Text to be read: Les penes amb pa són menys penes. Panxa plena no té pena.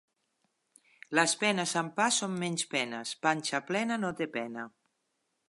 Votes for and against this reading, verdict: 2, 0, accepted